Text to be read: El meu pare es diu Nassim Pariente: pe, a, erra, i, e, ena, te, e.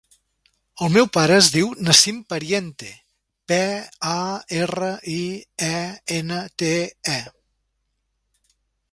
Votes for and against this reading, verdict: 3, 0, accepted